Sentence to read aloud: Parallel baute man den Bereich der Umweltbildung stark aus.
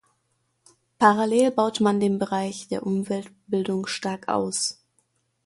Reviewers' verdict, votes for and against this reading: accepted, 2, 1